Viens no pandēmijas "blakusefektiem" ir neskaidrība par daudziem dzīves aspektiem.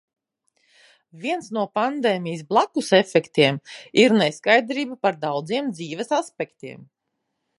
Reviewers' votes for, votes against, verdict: 5, 0, accepted